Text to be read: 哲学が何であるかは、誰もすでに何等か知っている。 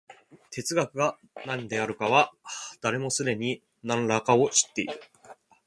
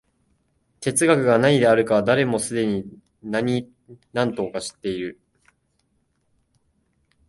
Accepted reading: first